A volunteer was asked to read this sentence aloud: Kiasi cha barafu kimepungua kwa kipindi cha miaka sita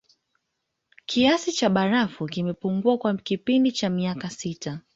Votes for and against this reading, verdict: 2, 0, accepted